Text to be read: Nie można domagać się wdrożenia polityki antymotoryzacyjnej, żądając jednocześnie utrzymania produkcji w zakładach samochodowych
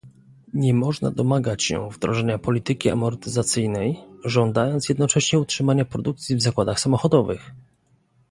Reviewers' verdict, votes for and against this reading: rejected, 1, 2